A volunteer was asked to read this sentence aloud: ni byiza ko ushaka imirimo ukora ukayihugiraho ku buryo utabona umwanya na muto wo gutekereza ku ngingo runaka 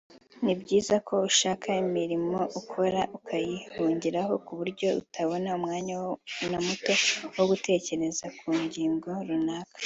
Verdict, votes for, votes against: accepted, 3, 0